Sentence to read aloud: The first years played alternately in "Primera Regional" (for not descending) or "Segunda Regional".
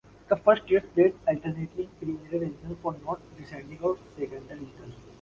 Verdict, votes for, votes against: accepted, 2, 0